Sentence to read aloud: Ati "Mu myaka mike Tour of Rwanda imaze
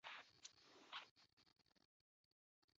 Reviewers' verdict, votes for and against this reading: rejected, 0, 2